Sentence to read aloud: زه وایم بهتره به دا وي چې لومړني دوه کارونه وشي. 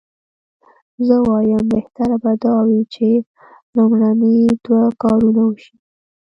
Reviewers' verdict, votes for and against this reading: accepted, 2, 0